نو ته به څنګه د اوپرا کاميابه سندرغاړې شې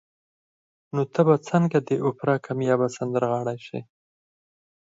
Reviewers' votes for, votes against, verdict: 4, 0, accepted